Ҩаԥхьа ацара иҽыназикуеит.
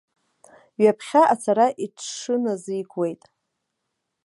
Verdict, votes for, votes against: accepted, 2, 0